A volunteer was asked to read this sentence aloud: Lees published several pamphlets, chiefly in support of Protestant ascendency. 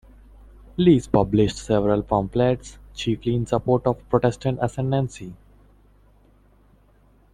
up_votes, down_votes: 2, 1